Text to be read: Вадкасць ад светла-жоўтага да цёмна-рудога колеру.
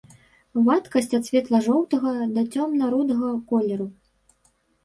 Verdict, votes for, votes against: rejected, 1, 2